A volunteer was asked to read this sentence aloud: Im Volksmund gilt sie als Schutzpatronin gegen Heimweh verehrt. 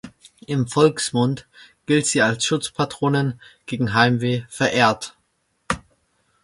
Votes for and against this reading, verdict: 2, 0, accepted